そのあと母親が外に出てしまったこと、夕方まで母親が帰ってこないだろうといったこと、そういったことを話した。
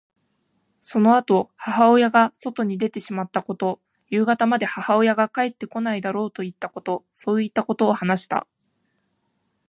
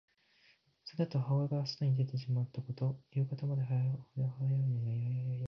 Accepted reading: first